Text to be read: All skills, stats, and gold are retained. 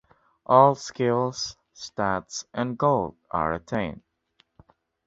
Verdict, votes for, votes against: accepted, 2, 0